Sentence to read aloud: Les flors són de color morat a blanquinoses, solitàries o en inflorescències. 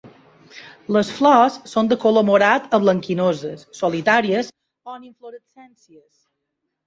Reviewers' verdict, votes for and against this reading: rejected, 1, 2